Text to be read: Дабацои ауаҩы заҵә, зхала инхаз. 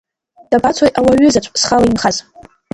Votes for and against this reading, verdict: 1, 2, rejected